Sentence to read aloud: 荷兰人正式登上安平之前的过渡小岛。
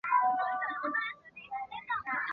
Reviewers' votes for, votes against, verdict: 0, 4, rejected